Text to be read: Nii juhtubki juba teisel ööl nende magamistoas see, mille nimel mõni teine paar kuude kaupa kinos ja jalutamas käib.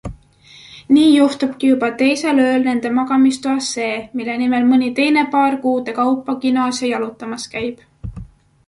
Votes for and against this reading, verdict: 2, 0, accepted